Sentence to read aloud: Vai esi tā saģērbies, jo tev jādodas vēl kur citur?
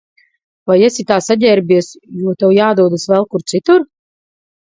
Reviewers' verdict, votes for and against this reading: accepted, 4, 0